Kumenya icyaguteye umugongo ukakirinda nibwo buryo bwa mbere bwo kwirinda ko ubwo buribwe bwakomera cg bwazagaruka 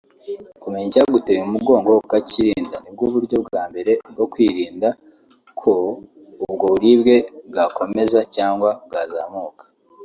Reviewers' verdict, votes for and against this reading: rejected, 0, 2